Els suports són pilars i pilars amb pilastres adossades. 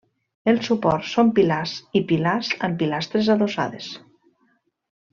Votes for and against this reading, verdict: 2, 0, accepted